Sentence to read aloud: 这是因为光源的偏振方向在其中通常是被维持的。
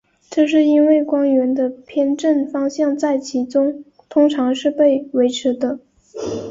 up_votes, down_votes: 2, 0